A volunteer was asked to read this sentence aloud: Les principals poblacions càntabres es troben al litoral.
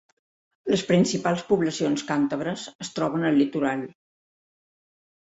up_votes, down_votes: 3, 0